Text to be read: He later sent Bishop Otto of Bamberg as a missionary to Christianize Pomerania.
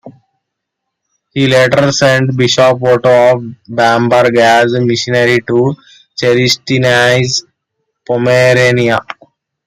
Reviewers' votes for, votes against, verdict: 1, 2, rejected